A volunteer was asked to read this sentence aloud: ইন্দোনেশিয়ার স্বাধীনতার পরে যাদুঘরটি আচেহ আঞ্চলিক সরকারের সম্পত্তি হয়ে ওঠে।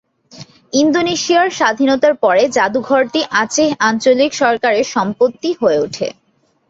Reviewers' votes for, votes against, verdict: 2, 0, accepted